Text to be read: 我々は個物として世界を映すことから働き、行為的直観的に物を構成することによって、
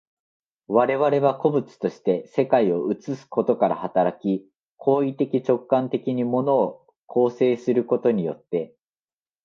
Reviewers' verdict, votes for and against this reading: accepted, 2, 0